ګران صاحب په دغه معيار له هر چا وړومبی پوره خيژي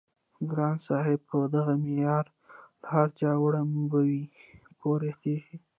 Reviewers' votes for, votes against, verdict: 2, 0, accepted